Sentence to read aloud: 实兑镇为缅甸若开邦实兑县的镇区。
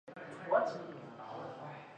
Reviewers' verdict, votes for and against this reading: rejected, 1, 3